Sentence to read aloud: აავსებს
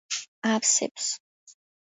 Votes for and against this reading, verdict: 2, 1, accepted